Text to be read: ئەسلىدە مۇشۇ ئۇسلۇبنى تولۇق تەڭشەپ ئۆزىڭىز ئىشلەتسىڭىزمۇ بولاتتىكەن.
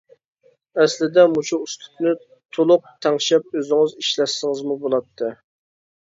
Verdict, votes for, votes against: rejected, 0, 2